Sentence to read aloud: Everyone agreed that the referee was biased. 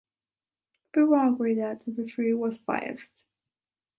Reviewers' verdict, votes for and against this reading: rejected, 1, 2